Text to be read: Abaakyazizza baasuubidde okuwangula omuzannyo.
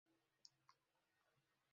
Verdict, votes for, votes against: rejected, 0, 2